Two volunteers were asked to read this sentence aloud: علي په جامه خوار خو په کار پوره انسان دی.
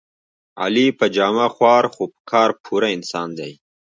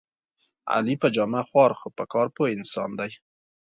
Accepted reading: second